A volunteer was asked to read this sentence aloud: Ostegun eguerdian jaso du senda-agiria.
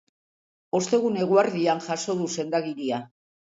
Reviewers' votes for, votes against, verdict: 2, 0, accepted